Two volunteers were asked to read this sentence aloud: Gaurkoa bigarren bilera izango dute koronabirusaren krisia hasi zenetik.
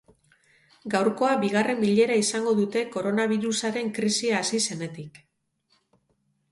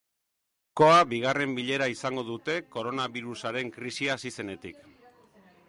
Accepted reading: first